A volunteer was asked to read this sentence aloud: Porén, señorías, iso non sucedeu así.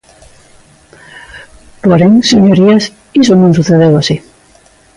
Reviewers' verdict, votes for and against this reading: accepted, 2, 1